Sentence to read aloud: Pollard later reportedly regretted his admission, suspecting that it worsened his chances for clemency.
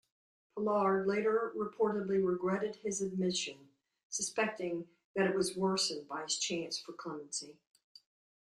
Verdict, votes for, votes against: accepted, 2, 1